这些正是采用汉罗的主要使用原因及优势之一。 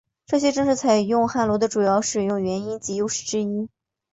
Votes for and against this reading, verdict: 3, 0, accepted